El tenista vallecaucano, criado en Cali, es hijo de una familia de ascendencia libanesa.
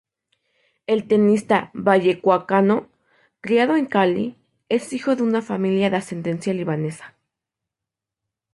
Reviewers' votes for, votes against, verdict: 0, 2, rejected